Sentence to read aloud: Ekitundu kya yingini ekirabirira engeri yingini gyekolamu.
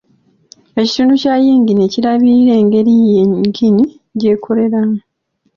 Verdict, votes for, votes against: rejected, 1, 2